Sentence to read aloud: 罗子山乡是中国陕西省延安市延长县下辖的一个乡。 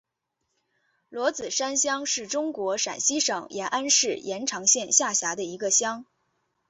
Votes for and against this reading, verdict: 2, 0, accepted